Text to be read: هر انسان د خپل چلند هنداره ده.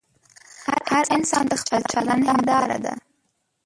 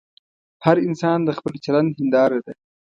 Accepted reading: second